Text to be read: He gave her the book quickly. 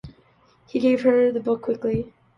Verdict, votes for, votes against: accepted, 2, 1